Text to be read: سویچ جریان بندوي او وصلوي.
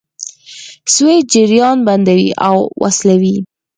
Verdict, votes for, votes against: accepted, 4, 0